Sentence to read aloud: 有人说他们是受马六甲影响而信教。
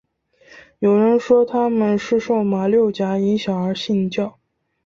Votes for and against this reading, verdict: 2, 0, accepted